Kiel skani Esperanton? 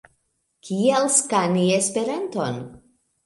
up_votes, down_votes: 0, 2